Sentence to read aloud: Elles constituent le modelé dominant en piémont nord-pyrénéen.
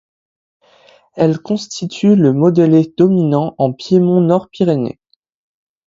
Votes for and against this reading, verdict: 1, 2, rejected